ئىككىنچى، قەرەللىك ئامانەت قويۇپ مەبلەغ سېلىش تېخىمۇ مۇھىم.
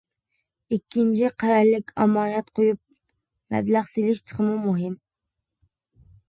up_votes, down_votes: 2, 0